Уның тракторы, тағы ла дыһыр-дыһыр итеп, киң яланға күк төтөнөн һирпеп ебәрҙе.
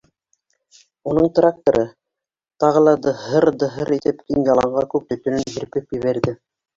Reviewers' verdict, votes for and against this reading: rejected, 0, 2